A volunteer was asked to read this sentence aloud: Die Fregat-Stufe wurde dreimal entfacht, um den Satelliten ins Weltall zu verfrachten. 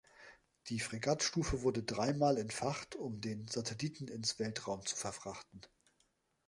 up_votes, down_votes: 1, 2